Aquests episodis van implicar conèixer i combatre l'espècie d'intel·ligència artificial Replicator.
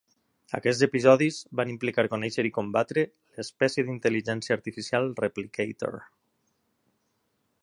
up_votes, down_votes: 3, 0